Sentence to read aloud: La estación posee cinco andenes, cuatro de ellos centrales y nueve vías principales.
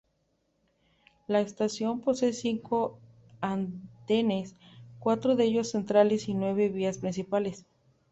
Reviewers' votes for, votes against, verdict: 2, 0, accepted